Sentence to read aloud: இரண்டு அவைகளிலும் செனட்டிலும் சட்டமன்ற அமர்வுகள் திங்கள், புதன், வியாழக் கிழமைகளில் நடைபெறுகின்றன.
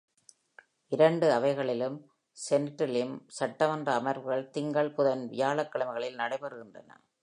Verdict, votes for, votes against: accepted, 2, 1